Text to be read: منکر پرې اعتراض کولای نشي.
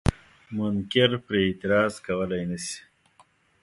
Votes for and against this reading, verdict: 2, 0, accepted